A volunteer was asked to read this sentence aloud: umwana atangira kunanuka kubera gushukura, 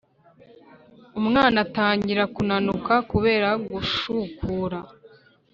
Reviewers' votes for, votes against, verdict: 5, 0, accepted